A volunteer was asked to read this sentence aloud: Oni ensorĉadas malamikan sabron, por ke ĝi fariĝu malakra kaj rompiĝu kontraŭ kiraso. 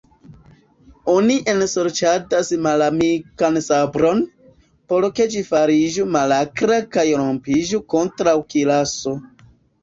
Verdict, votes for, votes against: rejected, 1, 2